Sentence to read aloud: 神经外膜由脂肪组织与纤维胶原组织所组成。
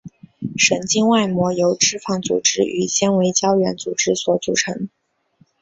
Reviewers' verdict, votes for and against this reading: accepted, 4, 0